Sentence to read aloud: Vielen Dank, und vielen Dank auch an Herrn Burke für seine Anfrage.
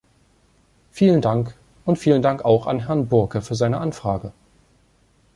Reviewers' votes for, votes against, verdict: 2, 0, accepted